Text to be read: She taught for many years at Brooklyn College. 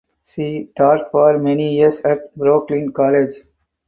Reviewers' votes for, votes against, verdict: 2, 4, rejected